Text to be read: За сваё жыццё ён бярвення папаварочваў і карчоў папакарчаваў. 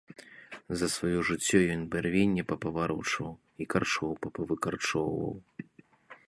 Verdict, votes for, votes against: rejected, 1, 2